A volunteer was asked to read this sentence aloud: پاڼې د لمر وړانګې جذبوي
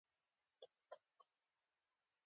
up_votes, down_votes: 3, 0